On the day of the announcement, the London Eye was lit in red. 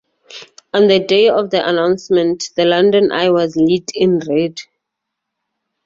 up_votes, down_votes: 2, 0